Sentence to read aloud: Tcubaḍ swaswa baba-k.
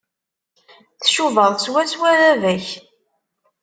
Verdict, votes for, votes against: accepted, 2, 0